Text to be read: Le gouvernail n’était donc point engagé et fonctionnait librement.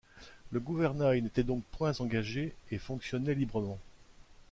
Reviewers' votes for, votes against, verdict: 2, 1, accepted